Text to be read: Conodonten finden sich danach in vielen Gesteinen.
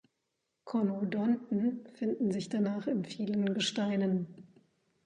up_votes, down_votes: 2, 0